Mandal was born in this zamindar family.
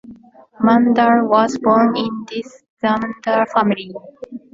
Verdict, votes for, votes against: accepted, 2, 1